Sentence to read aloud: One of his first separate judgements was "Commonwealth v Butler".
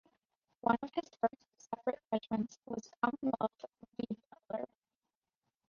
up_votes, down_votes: 0, 2